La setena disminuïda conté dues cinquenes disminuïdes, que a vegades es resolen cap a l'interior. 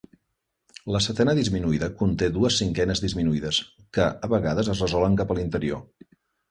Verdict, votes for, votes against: accepted, 3, 0